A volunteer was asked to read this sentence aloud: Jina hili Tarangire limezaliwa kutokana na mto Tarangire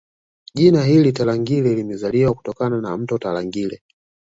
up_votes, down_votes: 2, 0